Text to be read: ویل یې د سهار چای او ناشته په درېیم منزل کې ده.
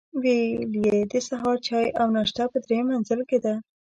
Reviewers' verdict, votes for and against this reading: accepted, 2, 0